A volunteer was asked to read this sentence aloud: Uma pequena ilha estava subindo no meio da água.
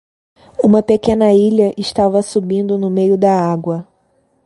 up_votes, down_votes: 2, 0